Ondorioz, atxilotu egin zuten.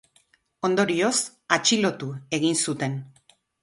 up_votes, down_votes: 4, 0